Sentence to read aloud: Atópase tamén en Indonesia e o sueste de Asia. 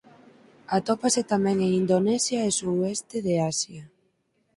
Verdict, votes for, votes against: rejected, 0, 4